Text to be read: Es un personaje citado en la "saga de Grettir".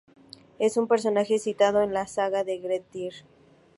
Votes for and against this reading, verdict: 2, 2, rejected